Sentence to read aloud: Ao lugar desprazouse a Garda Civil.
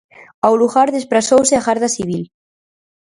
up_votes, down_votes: 4, 0